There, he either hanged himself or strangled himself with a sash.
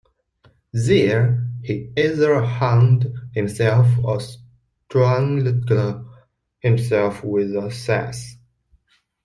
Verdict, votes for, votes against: rejected, 0, 2